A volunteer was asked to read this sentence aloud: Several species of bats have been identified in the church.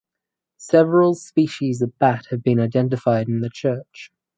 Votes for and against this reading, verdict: 0, 4, rejected